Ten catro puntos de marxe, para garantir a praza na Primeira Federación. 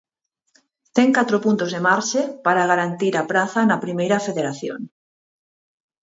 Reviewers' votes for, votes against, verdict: 4, 0, accepted